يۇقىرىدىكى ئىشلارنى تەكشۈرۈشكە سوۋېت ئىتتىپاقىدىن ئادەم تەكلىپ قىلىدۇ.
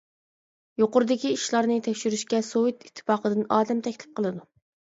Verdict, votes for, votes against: accepted, 2, 0